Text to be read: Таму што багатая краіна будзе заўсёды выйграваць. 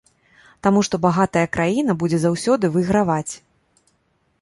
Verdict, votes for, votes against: accepted, 2, 0